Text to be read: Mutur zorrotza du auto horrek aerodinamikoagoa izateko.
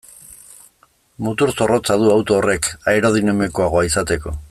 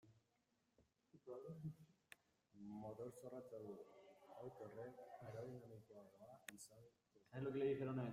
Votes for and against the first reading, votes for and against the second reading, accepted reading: 2, 0, 0, 2, first